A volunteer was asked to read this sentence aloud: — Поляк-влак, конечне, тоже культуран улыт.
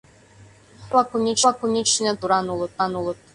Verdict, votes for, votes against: rejected, 0, 2